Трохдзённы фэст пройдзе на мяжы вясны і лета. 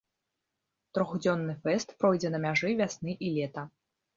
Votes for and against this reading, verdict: 2, 0, accepted